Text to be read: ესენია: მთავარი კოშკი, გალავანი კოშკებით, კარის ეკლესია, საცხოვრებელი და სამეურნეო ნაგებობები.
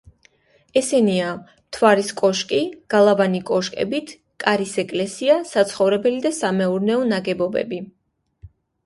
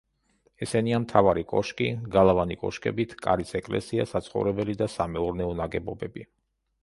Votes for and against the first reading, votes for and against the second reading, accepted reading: 0, 2, 2, 0, second